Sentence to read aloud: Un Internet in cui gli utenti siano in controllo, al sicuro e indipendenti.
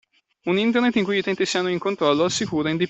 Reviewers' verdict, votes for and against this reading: rejected, 0, 2